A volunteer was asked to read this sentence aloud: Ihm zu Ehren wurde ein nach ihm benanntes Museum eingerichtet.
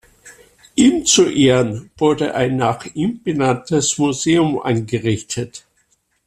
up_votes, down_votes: 2, 0